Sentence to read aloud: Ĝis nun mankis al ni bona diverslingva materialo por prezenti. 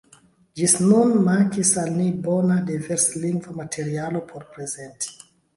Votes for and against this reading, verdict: 1, 2, rejected